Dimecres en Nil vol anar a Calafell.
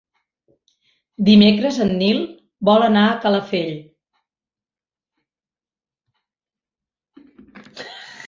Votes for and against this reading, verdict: 3, 0, accepted